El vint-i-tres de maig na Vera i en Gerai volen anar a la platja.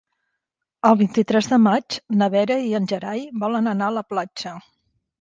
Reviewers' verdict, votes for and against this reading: accepted, 4, 0